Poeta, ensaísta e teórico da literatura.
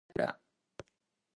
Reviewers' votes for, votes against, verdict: 0, 4, rejected